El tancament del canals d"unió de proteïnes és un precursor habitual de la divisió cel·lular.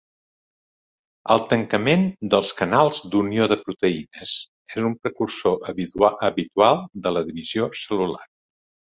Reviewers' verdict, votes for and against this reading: rejected, 1, 2